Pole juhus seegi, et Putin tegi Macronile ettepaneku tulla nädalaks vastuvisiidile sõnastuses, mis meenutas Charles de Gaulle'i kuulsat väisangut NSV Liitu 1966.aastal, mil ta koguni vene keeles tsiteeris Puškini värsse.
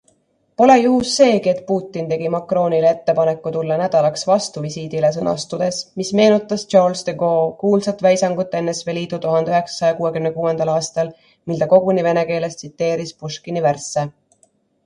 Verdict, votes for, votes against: rejected, 0, 2